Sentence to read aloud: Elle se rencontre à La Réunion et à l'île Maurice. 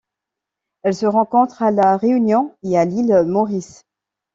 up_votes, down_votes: 2, 0